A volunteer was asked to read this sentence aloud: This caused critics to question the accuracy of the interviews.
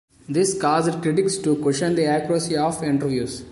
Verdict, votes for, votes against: rejected, 0, 3